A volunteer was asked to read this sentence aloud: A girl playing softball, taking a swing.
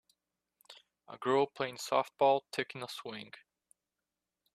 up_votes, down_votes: 2, 0